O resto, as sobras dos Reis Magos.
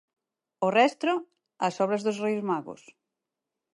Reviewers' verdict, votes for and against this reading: rejected, 0, 4